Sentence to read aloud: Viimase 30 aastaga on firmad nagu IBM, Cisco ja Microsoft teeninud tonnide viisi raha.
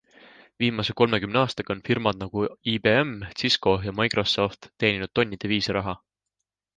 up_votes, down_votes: 0, 2